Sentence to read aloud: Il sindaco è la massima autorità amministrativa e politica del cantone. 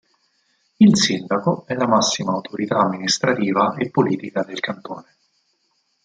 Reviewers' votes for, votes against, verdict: 4, 0, accepted